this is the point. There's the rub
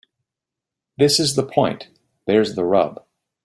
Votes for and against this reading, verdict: 2, 0, accepted